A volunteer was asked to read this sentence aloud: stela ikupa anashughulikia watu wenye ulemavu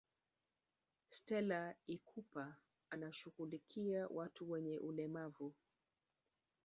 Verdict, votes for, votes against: rejected, 2, 3